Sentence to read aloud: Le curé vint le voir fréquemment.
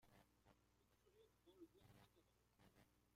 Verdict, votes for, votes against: rejected, 0, 2